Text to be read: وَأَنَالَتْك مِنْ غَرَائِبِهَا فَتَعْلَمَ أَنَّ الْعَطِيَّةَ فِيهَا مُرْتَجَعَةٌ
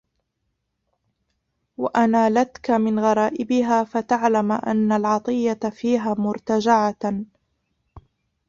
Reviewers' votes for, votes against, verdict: 0, 2, rejected